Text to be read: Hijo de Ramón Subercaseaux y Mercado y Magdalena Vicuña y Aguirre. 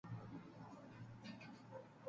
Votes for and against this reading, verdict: 0, 2, rejected